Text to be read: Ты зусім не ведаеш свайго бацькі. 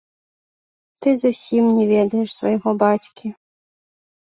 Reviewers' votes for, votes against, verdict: 2, 0, accepted